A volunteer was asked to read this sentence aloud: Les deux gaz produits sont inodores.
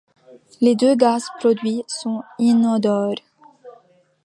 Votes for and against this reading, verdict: 2, 1, accepted